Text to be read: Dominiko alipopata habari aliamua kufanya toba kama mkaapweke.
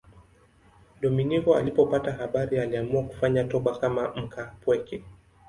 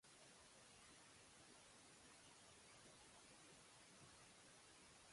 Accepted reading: first